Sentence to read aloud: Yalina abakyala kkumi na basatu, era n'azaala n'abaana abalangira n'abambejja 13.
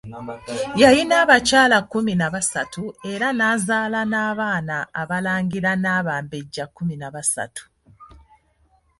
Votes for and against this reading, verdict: 0, 2, rejected